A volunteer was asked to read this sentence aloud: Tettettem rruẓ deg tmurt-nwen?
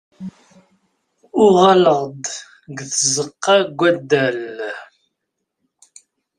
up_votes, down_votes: 0, 2